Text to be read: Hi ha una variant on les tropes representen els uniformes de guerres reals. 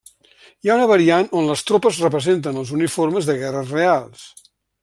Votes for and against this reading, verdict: 6, 0, accepted